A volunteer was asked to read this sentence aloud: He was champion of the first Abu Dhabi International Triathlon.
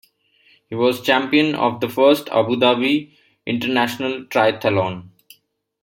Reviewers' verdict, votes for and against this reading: accepted, 2, 1